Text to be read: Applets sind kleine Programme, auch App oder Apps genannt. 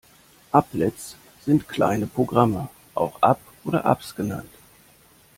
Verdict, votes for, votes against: accepted, 2, 0